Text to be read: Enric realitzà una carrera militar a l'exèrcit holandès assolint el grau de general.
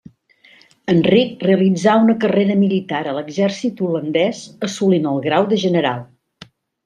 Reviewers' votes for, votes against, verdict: 3, 0, accepted